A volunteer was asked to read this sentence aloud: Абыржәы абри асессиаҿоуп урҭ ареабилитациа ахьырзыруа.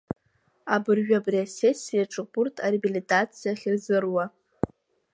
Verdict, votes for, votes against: accepted, 2, 0